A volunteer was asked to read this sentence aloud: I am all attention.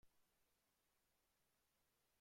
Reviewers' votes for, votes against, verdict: 0, 2, rejected